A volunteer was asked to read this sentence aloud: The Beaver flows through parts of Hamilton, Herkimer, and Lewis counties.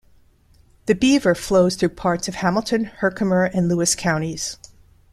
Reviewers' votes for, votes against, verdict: 2, 0, accepted